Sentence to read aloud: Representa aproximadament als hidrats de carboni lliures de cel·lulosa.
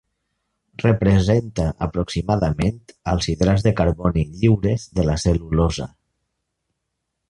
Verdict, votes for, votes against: rejected, 0, 2